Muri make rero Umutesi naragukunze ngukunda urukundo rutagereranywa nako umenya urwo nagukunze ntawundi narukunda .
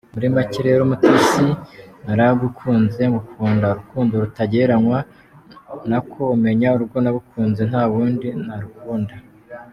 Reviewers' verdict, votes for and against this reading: accepted, 2, 1